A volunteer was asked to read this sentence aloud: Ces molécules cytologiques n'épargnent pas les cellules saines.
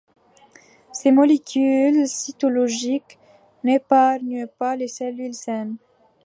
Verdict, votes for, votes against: accepted, 2, 0